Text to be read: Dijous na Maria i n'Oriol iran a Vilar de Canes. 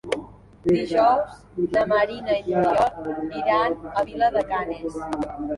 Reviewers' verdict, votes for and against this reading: rejected, 1, 2